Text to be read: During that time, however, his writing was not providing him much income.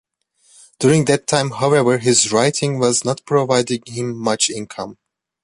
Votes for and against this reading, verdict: 2, 0, accepted